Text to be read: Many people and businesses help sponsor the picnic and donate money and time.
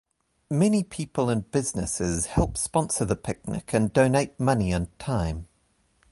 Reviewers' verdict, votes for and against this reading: accepted, 2, 0